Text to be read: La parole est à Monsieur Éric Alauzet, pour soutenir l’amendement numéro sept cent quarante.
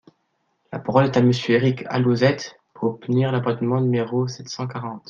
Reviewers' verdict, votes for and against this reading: rejected, 1, 2